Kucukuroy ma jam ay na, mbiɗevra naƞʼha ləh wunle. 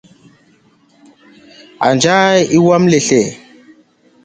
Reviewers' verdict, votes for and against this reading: rejected, 0, 2